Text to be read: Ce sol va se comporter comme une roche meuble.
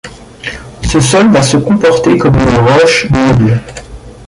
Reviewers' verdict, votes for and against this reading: rejected, 1, 2